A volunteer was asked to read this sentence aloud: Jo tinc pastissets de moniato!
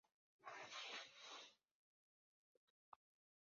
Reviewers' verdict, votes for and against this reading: rejected, 0, 2